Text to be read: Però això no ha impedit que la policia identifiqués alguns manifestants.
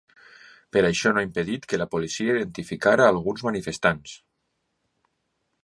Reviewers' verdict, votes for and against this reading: rejected, 0, 2